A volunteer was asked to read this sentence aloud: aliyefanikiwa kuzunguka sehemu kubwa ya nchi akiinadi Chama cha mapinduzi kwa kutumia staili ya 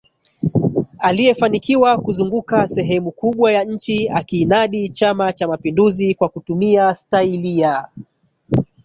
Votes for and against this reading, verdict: 1, 2, rejected